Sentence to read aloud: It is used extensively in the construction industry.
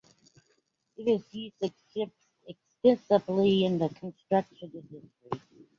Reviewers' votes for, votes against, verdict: 0, 2, rejected